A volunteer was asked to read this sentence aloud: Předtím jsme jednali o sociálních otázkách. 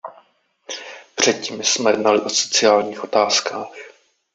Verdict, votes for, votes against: rejected, 0, 2